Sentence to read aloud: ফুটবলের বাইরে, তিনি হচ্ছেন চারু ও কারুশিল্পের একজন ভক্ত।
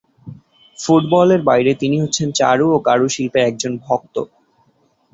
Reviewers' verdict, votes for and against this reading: accepted, 4, 0